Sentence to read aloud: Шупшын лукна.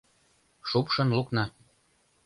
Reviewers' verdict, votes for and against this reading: accepted, 2, 0